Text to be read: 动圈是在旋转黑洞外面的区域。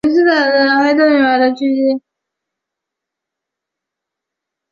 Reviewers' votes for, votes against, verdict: 1, 2, rejected